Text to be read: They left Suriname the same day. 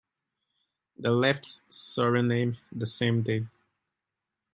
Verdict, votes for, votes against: accepted, 2, 0